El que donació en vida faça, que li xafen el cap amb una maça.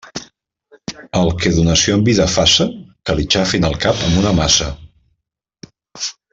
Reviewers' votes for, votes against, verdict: 2, 1, accepted